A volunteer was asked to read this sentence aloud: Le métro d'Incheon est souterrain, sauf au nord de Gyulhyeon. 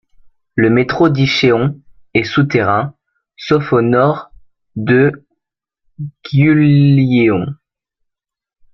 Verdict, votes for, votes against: rejected, 0, 2